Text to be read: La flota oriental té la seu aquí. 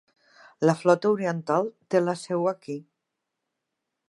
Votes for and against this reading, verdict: 3, 0, accepted